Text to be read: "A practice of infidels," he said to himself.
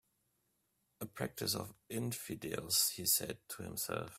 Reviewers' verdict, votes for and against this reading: accepted, 2, 1